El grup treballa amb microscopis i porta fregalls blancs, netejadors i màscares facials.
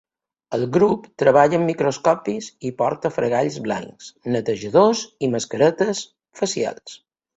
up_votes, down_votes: 1, 2